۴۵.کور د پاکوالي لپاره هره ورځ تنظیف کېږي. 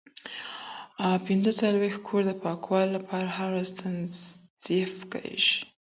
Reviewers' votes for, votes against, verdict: 0, 2, rejected